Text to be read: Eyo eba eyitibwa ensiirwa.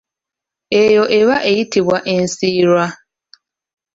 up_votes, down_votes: 2, 0